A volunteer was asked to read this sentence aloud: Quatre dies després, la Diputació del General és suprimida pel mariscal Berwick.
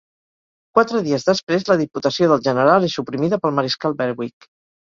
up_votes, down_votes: 4, 0